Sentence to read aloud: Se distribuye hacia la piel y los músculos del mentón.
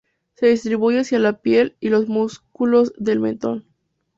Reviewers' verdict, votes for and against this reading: accepted, 2, 0